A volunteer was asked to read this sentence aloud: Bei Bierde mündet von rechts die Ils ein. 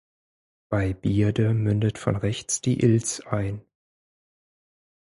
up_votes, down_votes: 4, 0